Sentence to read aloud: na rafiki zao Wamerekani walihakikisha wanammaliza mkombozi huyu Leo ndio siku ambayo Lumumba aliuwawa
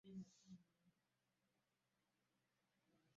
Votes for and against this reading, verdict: 0, 2, rejected